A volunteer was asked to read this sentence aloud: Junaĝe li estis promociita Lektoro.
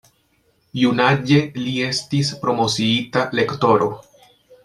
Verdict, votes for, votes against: accepted, 2, 0